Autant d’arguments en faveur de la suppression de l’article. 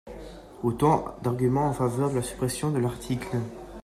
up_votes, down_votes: 2, 0